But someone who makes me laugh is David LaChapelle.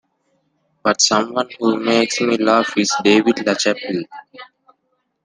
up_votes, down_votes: 0, 2